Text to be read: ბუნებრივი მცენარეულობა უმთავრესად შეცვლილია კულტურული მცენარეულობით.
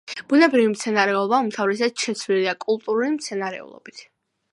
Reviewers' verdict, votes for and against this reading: accepted, 2, 0